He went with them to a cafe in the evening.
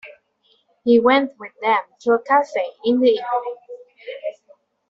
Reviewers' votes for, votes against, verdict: 2, 1, accepted